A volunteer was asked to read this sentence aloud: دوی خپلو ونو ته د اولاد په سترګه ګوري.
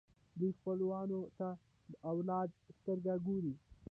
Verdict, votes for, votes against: rejected, 1, 2